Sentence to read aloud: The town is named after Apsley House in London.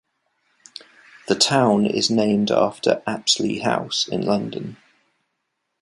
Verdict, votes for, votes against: accepted, 2, 0